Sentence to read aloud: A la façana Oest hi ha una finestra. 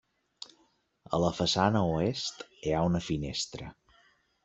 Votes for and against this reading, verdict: 3, 0, accepted